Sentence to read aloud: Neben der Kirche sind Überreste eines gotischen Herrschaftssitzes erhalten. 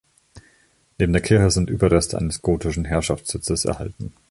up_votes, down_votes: 1, 2